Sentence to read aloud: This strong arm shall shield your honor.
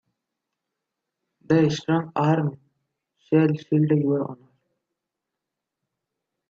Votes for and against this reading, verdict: 0, 2, rejected